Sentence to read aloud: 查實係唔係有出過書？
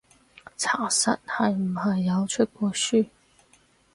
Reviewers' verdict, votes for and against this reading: accepted, 2, 0